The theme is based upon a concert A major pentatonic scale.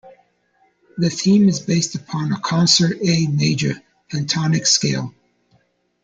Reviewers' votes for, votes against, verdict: 0, 2, rejected